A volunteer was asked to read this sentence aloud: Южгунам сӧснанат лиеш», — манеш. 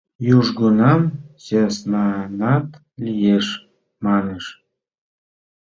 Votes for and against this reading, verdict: 2, 0, accepted